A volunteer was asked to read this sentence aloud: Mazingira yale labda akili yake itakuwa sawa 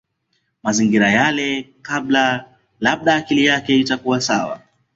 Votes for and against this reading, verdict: 1, 2, rejected